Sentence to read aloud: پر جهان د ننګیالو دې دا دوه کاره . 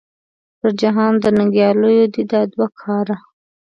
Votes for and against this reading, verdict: 3, 0, accepted